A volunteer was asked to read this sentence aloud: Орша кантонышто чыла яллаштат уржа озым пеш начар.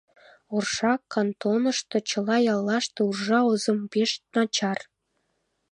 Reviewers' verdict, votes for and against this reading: rejected, 0, 2